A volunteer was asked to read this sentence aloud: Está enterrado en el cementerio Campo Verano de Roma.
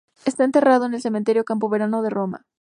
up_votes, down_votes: 2, 0